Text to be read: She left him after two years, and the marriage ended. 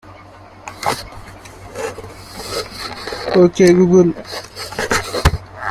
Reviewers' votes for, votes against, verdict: 0, 2, rejected